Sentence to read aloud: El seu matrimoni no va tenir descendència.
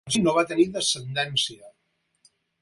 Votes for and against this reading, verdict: 2, 4, rejected